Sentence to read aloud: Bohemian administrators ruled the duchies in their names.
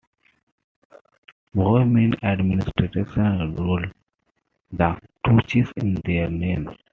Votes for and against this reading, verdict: 1, 2, rejected